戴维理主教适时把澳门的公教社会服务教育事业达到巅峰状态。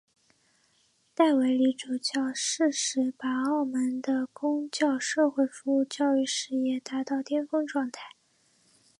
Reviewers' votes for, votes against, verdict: 2, 0, accepted